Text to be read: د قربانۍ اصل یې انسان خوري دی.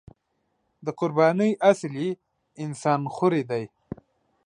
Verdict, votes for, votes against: accepted, 2, 1